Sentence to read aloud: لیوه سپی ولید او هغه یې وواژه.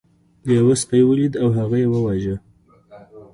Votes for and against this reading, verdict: 2, 1, accepted